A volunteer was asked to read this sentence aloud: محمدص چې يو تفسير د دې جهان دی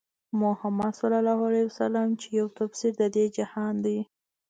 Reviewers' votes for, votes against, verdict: 2, 0, accepted